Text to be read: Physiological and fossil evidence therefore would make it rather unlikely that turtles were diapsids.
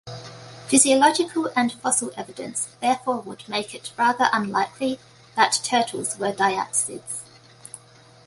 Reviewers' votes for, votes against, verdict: 2, 0, accepted